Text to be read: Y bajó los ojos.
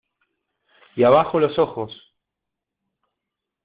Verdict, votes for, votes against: rejected, 0, 2